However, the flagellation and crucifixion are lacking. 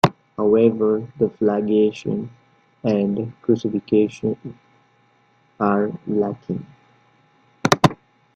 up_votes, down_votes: 1, 2